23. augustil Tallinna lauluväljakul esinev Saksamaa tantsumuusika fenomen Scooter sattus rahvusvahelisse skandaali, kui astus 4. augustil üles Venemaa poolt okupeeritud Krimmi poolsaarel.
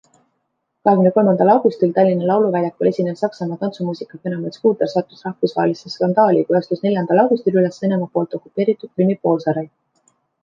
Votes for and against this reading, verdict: 0, 2, rejected